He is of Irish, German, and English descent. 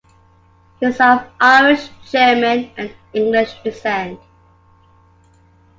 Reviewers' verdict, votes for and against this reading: accepted, 3, 1